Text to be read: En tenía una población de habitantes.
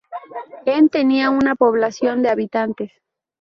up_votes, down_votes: 2, 0